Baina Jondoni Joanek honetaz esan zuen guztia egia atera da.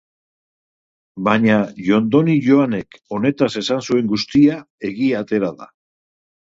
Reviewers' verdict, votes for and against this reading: accepted, 7, 0